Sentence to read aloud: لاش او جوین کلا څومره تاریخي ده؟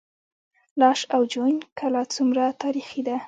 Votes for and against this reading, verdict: 1, 3, rejected